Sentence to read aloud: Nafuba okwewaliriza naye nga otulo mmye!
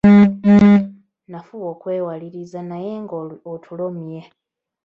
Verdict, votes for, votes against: rejected, 0, 2